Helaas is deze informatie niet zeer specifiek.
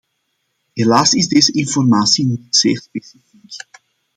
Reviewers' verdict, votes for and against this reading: rejected, 0, 2